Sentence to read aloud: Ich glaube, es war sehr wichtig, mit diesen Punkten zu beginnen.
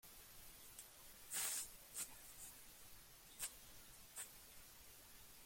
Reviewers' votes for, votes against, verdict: 0, 2, rejected